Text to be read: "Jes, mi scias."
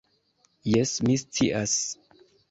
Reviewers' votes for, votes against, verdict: 2, 0, accepted